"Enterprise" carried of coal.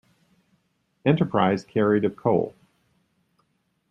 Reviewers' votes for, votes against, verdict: 2, 0, accepted